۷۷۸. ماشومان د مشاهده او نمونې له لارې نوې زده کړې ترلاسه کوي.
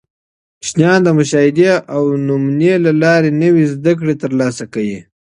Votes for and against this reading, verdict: 0, 2, rejected